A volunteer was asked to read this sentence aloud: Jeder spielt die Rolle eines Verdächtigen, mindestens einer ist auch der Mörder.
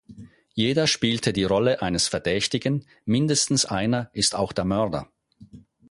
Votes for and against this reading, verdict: 0, 4, rejected